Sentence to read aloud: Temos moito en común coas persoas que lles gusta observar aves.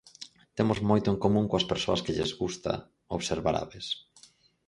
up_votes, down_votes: 4, 0